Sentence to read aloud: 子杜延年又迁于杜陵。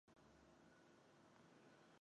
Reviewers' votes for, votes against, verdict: 0, 4, rejected